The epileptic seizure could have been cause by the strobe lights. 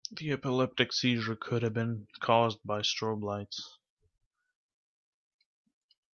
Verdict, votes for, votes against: rejected, 1, 2